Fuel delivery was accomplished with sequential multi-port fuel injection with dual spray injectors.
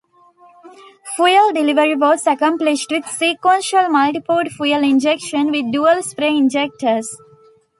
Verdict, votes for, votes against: accepted, 2, 0